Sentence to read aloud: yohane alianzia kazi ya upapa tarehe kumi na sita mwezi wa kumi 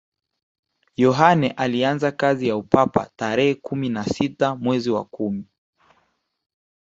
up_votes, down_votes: 5, 0